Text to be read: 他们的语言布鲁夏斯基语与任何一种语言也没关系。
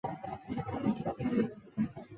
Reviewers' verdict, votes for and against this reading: rejected, 0, 2